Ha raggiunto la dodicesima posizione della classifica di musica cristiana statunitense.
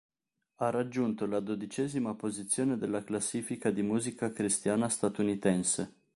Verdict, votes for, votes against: accepted, 2, 0